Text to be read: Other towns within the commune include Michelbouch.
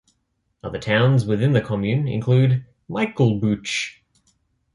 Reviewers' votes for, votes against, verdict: 2, 0, accepted